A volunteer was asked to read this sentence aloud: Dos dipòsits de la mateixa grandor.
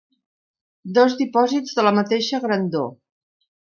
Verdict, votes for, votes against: accepted, 3, 0